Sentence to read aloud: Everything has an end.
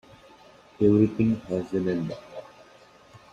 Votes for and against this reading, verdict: 2, 1, accepted